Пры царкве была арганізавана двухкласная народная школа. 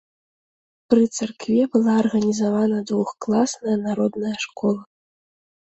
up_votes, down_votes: 2, 0